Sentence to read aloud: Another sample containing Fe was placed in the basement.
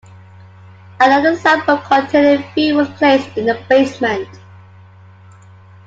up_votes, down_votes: 2, 1